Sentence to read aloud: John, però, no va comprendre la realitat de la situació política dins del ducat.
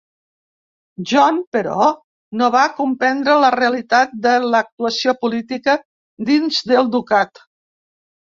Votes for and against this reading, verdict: 1, 2, rejected